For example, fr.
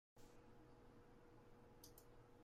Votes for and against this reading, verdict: 0, 2, rejected